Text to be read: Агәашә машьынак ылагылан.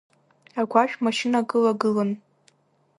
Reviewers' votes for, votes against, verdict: 2, 0, accepted